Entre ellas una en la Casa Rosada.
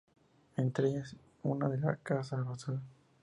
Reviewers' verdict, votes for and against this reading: accepted, 2, 0